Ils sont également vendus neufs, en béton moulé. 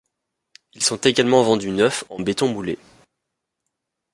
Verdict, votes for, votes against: accepted, 2, 0